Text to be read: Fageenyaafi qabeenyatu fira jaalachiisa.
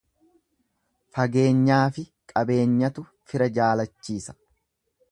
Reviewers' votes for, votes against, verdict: 2, 0, accepted